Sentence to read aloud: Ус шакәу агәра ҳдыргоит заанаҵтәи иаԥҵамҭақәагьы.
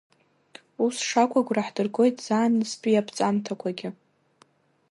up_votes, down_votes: 2, 0